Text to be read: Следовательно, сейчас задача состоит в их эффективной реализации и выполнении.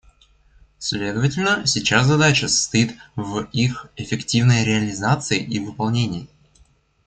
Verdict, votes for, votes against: accepted, 2, 1